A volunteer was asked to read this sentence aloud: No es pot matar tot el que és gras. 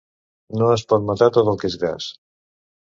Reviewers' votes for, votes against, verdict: 3, 2, accepted